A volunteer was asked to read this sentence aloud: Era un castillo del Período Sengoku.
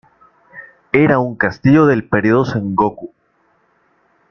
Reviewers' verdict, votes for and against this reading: accepted, 2, 0